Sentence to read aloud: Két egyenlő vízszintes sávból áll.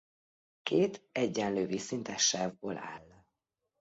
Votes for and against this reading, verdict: 2, 0, accepted